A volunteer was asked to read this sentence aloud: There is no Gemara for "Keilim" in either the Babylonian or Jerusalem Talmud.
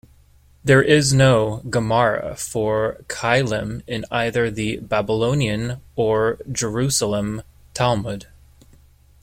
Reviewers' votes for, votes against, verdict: 2, 0, accepted